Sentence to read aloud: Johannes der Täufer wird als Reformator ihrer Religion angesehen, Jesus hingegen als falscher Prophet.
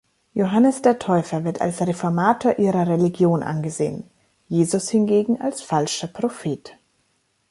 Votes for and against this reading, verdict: 2, 0, accepted